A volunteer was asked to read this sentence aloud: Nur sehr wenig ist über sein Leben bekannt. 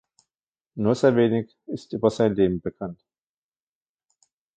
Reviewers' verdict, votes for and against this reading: rejected, 1, 2